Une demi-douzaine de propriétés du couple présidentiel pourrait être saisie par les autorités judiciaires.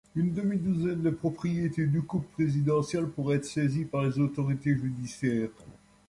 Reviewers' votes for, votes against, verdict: 2, 0, accepted